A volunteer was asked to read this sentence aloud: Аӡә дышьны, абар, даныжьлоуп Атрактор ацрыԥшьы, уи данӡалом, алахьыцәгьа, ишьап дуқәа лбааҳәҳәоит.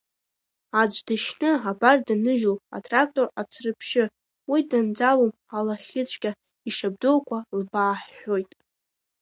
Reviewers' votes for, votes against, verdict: 1, 2, rejected